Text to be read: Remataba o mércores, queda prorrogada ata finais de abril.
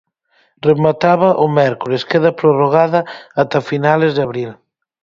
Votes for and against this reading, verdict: 0, 4, rejected